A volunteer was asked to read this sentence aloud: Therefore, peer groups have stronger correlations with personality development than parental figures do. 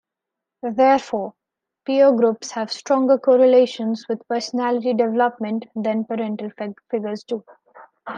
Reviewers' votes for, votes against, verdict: 0, 2, rejected